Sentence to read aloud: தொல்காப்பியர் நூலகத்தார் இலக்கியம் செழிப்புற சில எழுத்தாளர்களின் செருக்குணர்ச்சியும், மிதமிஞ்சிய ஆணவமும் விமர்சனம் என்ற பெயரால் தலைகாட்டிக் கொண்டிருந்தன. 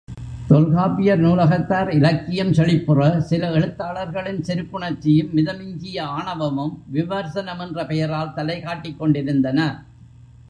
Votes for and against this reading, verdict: 0, 2, rejected